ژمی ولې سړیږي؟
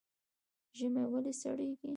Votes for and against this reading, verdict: 0, 2, rejected